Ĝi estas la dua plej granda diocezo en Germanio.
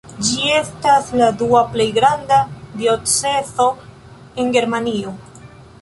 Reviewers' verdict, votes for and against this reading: accepted, 2, 0